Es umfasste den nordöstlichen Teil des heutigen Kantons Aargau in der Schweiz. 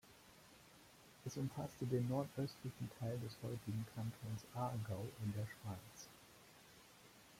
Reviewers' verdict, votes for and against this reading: accepted, 2, 0